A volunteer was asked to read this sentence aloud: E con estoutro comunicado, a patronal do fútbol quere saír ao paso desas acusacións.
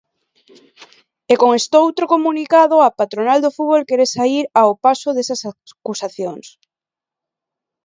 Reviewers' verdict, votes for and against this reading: rejected, 0, 2